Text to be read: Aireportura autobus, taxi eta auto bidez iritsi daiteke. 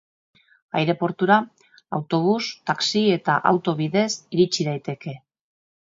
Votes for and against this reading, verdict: 2, 0, accepted